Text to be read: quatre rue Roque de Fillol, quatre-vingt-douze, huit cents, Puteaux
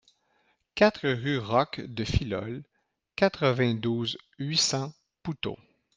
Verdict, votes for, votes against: rejected, 1, 2